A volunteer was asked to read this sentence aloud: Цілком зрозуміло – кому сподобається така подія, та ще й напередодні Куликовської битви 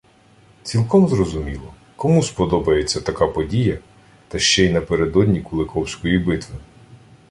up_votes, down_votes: 2, 0